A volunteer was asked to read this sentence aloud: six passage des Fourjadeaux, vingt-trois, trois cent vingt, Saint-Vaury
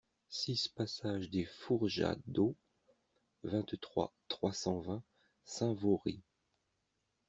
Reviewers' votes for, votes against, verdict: 2, 0, accepted